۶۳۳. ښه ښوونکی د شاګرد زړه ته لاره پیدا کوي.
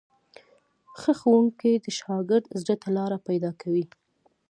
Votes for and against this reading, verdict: 0, 2, rejected